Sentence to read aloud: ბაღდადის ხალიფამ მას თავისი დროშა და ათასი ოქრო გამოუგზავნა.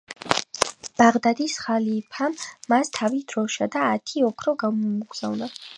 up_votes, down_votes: 1, 2